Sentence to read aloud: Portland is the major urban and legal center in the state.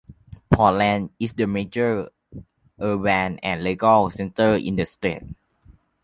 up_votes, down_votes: 2, 1